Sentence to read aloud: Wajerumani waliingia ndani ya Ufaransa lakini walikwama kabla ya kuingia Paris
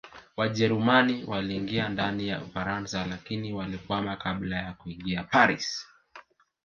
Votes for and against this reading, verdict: 2, 3, rejected